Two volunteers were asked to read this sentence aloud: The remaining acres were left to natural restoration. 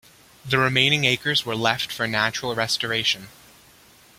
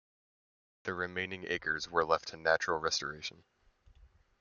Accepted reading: second